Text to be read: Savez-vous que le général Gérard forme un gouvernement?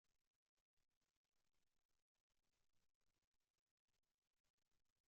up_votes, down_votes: 0, 2